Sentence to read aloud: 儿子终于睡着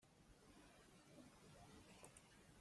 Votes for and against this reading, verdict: 0, 2, rejected